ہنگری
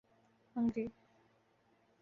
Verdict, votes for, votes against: accepted, 2, 0